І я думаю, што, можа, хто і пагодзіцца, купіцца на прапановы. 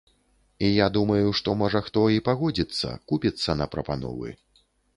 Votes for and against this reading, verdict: 3, 0, accepted